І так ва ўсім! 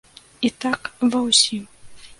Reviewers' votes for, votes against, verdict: 2, 0, accepted